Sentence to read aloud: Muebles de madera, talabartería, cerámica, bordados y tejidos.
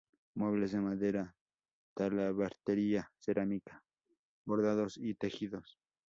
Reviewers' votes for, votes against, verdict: 4, 0, accepted